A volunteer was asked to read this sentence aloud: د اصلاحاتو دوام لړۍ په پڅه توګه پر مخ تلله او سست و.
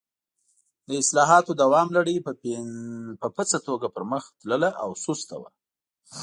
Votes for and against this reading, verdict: 1, 2, rejected